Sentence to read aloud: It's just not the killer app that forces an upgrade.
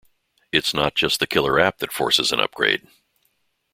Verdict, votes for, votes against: accepted, 2, 1